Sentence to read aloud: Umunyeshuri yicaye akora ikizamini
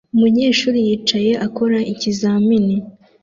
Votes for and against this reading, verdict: 2, 0, accepted